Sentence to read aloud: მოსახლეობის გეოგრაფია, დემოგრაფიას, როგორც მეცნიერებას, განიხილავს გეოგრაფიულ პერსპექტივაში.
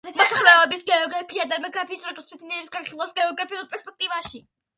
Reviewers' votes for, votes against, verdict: 0, 2, rejected